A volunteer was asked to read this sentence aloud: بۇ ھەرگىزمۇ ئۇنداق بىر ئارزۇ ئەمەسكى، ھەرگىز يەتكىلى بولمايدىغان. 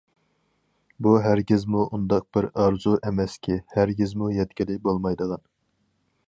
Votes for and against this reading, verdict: 0, 4, rejected